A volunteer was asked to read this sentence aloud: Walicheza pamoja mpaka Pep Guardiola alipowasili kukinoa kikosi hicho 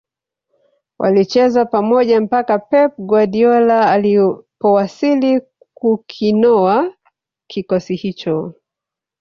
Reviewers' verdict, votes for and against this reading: accepted, 2, 1